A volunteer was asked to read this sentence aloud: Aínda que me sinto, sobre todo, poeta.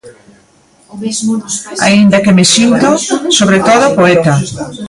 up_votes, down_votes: 0, 2